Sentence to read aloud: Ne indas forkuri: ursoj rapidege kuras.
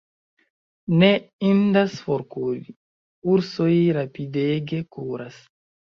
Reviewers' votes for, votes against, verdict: 1, 2, rejected